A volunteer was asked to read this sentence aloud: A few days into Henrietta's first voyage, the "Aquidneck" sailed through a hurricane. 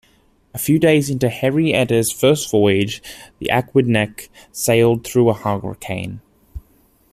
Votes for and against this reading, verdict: 0, 2, rejected